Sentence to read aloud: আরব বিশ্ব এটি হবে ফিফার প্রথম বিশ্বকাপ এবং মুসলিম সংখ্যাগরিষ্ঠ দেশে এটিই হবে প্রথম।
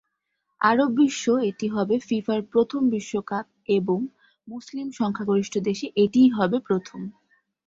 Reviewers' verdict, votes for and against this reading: accepted, 2, 0